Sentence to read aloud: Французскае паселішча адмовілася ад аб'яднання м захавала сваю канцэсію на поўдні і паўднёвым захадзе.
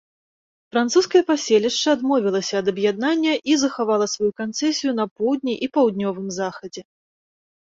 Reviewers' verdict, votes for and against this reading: rejected, 1, 2